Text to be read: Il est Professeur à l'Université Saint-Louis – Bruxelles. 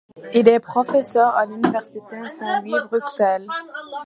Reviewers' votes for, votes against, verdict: 2, 1, accepted